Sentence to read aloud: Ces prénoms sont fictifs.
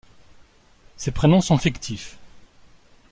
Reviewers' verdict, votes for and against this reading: accepted, 2, 0